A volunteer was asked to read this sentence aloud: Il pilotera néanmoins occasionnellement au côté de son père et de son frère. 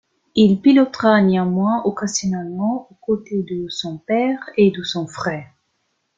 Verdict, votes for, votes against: rejected, 0, 2